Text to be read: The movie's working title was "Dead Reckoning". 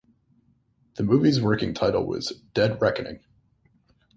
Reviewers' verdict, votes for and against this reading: accepted, 2, 0